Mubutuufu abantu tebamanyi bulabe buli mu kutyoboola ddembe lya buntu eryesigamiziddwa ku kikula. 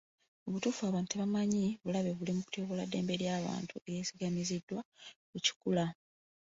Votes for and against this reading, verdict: 2, 0, accepted